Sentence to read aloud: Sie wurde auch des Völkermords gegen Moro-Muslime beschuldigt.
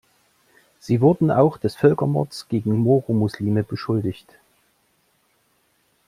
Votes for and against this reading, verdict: 1, 2, rejected